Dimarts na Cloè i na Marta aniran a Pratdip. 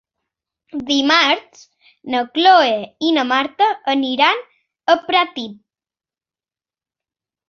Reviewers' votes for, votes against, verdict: 1, 2, rejected